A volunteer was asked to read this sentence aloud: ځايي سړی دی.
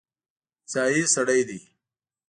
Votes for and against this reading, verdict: 2, 0, accepted